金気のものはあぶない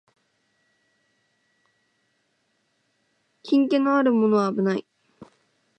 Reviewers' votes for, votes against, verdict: 2, 1, accepted